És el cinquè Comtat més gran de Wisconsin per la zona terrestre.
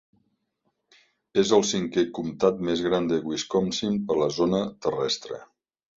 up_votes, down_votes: 3, 0